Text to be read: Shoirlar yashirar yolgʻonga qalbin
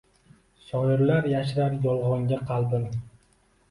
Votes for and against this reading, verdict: 2, 1, accepted